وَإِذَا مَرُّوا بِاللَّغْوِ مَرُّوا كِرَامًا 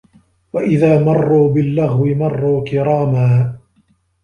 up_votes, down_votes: 1, 2